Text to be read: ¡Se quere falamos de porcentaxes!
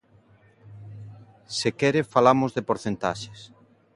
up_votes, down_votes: 2, 0